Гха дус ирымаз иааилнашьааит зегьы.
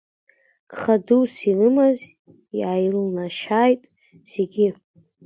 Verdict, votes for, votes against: rejected, 1, 2